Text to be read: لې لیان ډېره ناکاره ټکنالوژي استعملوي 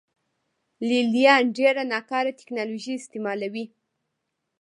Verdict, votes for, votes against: rejected, 0, 2